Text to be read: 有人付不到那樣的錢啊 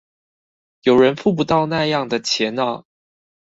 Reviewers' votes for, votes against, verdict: 4, 0, accepted